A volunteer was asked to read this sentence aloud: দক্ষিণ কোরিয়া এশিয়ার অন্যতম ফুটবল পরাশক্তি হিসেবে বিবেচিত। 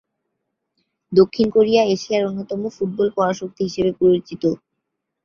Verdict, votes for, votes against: accepted, 4, 1